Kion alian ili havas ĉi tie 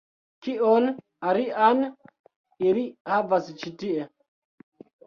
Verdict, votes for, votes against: accepted, 2, 1